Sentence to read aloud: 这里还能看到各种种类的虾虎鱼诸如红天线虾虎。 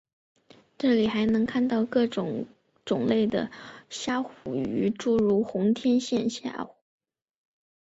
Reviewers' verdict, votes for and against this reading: accepted, 5, 0